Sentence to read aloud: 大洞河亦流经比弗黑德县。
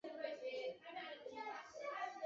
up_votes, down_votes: 0, 2